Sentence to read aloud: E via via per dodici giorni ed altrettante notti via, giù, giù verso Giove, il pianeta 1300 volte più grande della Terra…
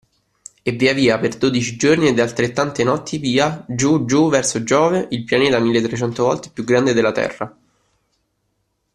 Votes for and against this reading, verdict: 0, 2, rejected